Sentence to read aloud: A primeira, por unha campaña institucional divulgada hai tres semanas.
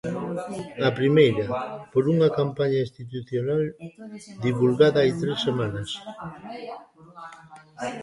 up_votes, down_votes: 1, 2